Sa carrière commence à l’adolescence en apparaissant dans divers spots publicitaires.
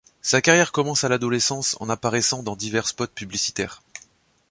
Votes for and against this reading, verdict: 2, 0, accepted